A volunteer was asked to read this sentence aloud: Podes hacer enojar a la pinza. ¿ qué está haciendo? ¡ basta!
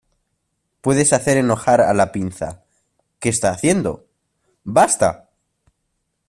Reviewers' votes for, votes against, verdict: 0, 2, rejected